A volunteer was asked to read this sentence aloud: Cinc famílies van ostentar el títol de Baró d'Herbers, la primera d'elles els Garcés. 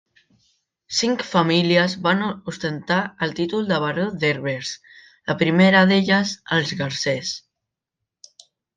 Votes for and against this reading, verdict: 1, 2, rejected